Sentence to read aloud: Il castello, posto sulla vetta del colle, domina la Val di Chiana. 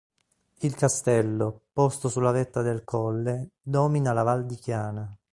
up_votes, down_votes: 2, 0